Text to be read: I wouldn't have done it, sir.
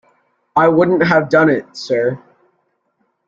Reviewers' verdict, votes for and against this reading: accepted, 2, 1